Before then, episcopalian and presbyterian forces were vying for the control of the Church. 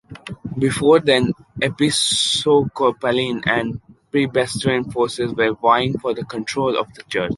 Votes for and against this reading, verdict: 1, 2, rejected